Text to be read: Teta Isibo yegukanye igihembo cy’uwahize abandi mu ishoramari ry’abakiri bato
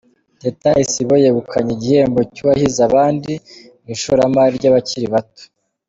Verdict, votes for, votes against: accepted, 2, 0